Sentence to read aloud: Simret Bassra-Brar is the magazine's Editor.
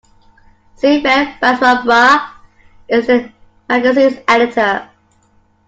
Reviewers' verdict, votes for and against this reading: accepted, 2, 1